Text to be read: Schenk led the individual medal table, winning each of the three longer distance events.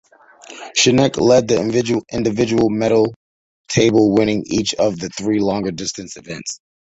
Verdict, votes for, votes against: rejected, 1, 2